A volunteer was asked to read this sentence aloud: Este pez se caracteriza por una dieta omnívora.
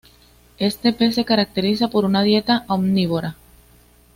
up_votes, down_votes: 2, 0